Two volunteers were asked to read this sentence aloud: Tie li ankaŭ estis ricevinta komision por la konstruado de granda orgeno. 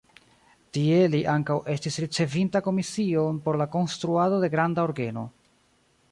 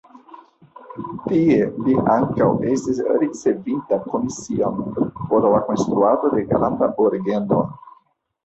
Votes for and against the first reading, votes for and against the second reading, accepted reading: 0, 2, 2, 1, second